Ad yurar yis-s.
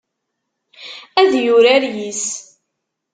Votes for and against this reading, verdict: 1, 2, rejected